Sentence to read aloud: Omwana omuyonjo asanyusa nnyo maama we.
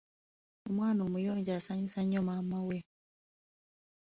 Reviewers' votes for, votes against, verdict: 2, 0, accepted